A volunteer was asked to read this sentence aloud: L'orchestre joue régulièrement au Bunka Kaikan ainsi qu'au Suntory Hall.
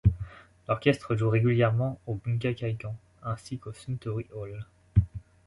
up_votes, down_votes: 2, 0